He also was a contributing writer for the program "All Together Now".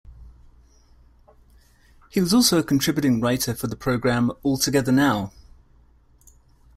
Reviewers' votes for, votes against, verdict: 0, 2, rejected